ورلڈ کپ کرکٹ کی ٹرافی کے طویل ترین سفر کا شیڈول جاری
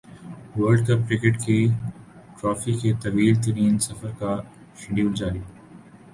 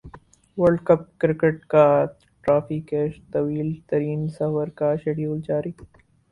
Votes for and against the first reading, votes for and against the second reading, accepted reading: 6, 0, 4, 6, first